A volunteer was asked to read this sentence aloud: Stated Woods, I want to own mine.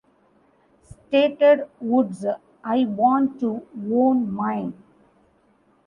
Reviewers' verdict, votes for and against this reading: rejected, 1, 2